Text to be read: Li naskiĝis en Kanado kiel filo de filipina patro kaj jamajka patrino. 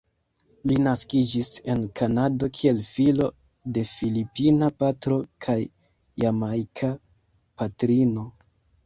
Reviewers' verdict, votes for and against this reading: accepted, 2, 1